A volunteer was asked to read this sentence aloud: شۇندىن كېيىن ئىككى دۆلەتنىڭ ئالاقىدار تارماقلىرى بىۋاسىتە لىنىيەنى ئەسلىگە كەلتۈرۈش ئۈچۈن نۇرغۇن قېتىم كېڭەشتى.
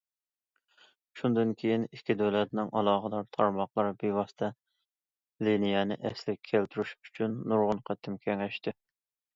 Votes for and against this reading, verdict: 2, 0, accepted